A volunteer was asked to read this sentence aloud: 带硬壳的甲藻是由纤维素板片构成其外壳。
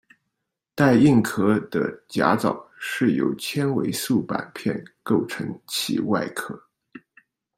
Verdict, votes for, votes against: rejected, 1, 2